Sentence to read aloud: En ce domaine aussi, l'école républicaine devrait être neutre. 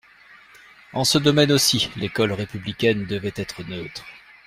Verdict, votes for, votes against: rejected, 0, 2